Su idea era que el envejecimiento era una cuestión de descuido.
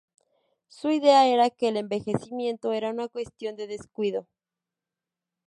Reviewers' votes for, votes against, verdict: 2, 0, accepted